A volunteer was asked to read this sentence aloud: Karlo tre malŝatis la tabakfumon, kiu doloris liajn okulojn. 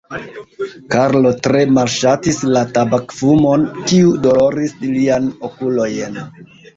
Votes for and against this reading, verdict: 1, 2, rejected